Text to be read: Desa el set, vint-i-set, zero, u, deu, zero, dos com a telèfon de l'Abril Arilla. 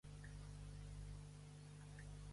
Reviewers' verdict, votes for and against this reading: rejected, 0, 2